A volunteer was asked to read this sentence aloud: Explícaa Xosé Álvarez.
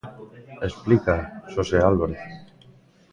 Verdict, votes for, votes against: rejected, 1, 2